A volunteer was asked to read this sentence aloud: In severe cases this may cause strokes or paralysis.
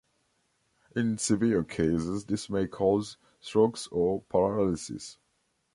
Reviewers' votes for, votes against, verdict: 2, 0, accepted